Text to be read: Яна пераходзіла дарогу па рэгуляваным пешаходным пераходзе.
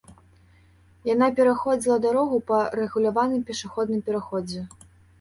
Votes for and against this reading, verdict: 2, 0, accepted